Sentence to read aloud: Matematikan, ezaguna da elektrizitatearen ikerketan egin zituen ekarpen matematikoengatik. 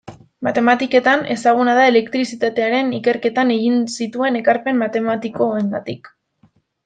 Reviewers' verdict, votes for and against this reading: rejected, 0, 2